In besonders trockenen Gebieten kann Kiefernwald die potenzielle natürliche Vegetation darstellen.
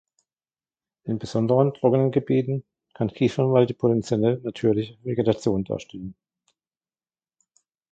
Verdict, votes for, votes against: rejected, 0, 2